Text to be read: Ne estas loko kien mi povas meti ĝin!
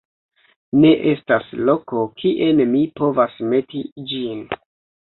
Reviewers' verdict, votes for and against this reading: rejected, 1, 2